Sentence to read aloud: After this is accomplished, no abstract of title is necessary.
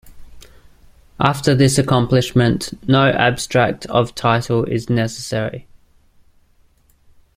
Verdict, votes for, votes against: rejected, 0, 2